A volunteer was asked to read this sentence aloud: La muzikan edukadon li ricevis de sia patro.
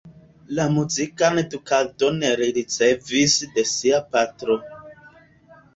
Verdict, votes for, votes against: accepted, 2, 0